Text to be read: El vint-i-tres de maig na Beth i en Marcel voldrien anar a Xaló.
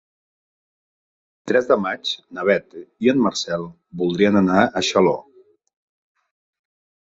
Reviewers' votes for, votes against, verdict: 0, 3, rejected